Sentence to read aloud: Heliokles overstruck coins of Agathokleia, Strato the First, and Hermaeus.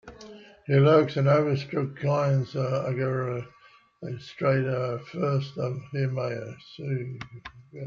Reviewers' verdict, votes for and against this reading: rejected, 0, 2